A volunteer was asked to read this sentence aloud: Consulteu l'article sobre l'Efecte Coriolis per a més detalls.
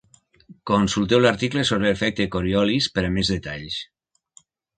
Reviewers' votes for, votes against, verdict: 4, 1, accepted